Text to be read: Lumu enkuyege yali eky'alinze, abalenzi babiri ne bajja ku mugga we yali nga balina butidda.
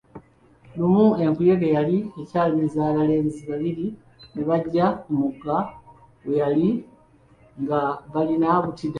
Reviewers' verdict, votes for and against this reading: rejected, 1, 2